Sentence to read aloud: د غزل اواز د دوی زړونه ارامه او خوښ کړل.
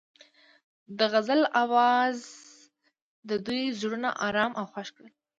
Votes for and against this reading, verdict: 2, 1, accepted